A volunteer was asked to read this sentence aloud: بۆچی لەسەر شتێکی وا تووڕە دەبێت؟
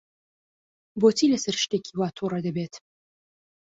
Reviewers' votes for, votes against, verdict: 2, 0, accepted